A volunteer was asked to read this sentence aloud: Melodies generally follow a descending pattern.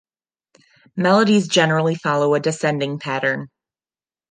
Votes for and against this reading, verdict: 2, 0, accepted